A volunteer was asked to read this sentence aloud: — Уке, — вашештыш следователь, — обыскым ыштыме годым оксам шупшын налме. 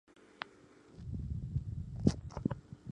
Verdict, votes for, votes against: rejected, 0, 2